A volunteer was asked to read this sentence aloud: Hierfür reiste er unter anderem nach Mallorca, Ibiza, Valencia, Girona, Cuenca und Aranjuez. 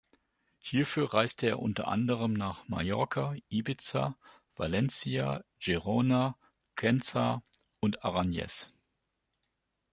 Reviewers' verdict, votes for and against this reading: rejected, 1, 2